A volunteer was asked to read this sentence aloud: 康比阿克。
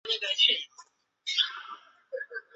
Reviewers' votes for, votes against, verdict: 0, 2, rejected